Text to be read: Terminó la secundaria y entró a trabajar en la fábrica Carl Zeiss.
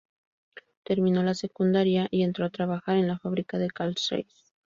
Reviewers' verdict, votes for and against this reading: rejected, 0, 2